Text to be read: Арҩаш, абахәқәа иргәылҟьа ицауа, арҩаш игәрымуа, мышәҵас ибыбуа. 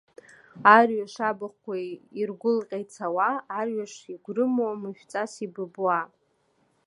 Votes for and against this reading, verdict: 2, 0, accepted